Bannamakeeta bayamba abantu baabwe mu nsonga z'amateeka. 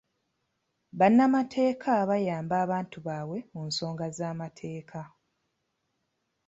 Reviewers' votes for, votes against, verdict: 2, 0, accepted